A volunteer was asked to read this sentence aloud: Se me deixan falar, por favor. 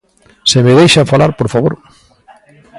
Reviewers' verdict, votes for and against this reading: rejected, 1, 2